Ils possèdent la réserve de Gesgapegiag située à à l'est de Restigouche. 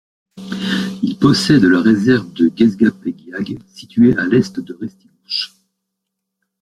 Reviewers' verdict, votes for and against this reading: rejected, 0, 2